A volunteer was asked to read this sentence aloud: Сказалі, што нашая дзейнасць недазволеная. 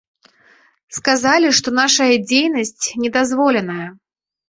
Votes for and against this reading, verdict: 2, 0, accepted